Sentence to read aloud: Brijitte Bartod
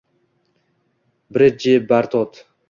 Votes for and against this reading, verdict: 2, 0, accepted